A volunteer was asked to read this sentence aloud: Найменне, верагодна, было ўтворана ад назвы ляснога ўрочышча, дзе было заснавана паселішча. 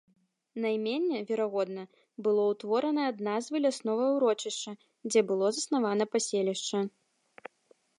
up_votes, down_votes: 2, 0